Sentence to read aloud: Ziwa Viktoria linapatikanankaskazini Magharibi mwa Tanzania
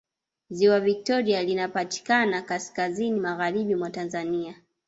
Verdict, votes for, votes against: rejected, 1, 2